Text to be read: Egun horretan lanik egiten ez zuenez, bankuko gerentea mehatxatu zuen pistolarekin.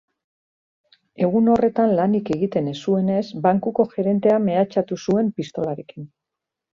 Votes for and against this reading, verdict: 2, 0, accepted